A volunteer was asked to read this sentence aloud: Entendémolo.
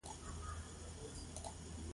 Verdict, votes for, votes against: rejected, 0, 2